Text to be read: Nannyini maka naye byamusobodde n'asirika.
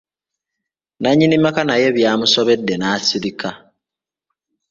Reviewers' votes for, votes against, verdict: 2, 0, accepted